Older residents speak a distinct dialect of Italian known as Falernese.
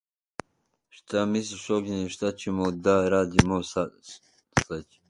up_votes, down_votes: 0, 2